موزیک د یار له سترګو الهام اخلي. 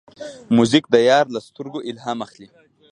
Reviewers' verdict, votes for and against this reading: rejected, 1, 2